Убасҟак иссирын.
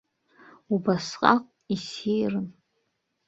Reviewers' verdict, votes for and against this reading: accepted, 2, 0